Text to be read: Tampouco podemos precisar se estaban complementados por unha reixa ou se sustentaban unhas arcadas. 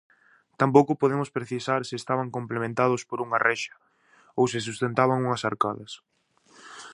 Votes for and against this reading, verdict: 4, 0, accepted